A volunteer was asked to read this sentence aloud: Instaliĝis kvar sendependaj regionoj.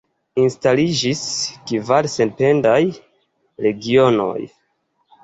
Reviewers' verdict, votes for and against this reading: accepted, 2, 0